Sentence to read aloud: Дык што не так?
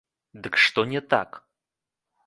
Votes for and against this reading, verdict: 1, 2, rejected